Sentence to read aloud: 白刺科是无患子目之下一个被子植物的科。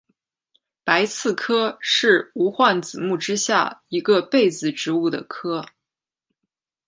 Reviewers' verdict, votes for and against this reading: accepted, 2, 0